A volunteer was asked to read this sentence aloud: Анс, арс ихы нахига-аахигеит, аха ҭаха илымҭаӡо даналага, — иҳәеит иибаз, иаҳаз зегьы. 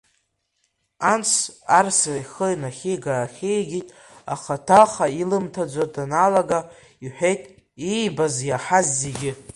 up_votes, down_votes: 3, 1